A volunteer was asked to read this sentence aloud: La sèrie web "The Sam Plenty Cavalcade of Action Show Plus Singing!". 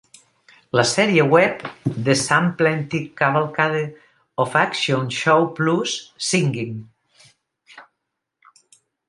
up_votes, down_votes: 0, 2